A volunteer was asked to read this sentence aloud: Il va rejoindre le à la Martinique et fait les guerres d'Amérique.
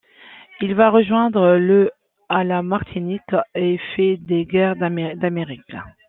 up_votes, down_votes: 0, 2